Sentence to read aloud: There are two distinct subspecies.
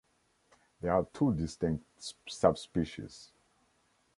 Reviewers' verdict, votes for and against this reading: rejected, 1, 2